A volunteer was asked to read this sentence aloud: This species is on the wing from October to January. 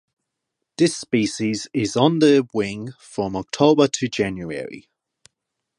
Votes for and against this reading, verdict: 8, 0, accepted